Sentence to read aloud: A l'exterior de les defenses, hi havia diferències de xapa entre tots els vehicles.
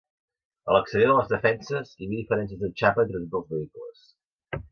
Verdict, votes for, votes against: rejected, 0, 3